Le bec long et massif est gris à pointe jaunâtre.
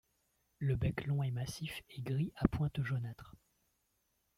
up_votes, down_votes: 2, 1